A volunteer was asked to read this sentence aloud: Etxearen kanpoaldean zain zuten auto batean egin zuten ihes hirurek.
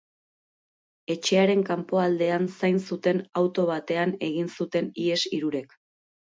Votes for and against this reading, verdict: 4, 0, accepted